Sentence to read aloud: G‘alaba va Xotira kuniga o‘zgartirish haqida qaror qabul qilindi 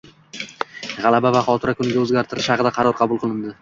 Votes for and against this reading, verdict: 2, 0, accepted